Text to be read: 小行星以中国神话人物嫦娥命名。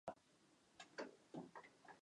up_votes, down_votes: 1, 2